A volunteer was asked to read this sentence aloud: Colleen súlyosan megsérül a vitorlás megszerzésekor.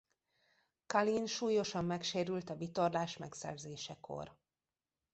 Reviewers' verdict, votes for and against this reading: rejected, 1, 2